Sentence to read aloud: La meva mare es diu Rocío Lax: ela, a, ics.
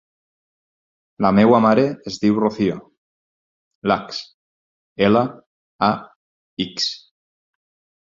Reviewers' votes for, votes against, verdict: 0, 4, rejected